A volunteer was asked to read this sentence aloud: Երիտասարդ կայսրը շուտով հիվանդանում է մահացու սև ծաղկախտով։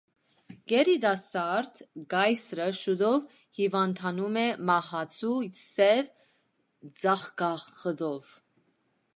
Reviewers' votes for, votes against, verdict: 0, 2, rejected